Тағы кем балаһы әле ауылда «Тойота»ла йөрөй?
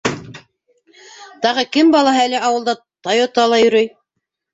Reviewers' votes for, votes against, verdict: 1, 2, rejected